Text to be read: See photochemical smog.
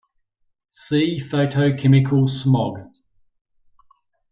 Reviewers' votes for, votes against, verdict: 2, 0, accepted